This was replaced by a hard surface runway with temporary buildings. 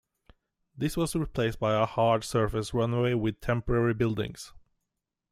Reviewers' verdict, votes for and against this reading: accepted, 2, 0